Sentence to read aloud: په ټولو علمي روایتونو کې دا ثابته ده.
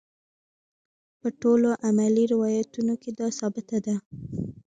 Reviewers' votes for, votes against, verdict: 1, 2, rejected